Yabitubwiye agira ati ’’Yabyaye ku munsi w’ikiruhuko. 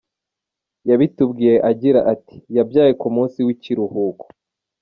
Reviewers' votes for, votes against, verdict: 2, 0, accepted